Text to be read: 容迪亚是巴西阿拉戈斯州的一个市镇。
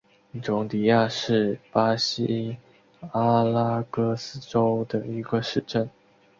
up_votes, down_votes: 2, 0